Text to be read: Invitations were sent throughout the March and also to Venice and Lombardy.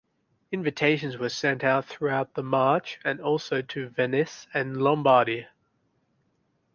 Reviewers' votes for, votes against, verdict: 2, 0, accepted